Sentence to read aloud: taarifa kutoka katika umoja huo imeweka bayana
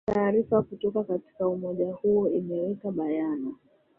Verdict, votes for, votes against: rejected, 1, 2